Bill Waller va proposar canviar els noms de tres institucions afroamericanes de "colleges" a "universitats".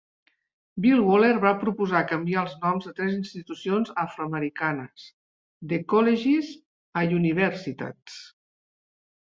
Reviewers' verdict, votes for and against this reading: rejected, 1, 2